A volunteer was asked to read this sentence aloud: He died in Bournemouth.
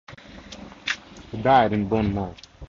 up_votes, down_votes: 0, 2